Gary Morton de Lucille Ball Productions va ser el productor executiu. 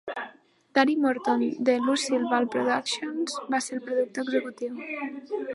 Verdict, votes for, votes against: accepted, 2, 0